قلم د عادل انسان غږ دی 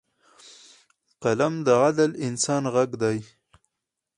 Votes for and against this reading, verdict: 0, 2, rejected